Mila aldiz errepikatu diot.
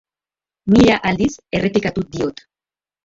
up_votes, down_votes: 2, 1